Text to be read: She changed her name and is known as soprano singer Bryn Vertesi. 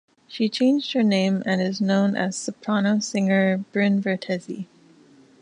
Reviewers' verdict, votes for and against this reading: accepted, 2, 0